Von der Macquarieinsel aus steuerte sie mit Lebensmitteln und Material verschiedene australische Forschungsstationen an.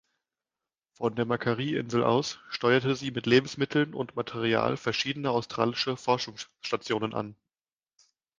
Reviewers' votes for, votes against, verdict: 1, 2, rejected